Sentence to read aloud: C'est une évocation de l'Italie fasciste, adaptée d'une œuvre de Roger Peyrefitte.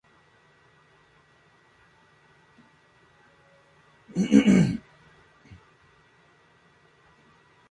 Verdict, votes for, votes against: rejected, 0, 2